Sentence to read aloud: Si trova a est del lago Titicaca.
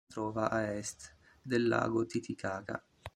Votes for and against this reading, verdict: 0, 2, rejected